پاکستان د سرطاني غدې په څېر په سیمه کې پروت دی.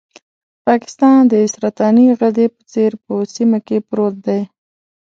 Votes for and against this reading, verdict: 1, 2, rejected